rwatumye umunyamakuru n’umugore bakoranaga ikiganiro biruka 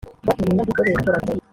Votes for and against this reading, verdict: 0, 2, rejected